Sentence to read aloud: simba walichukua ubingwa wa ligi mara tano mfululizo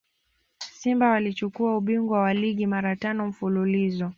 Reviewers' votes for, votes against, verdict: 2, 0, accepted